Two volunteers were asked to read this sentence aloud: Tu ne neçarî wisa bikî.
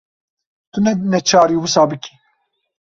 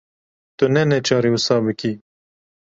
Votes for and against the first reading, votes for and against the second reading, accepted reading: 1, 2, 2, 0, second